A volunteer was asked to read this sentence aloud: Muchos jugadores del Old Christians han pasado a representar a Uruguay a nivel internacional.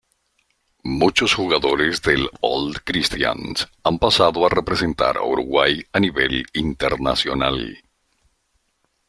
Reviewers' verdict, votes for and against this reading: accepted, 2, 0